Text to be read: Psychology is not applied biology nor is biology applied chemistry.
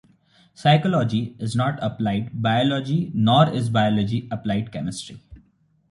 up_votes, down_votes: 2, 1